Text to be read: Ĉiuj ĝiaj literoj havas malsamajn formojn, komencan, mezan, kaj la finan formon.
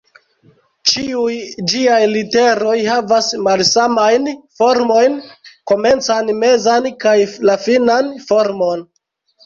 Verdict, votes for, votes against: rejected, 0, 2